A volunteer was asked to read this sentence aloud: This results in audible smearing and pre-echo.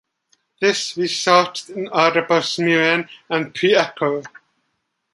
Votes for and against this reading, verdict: 2, 1, accepted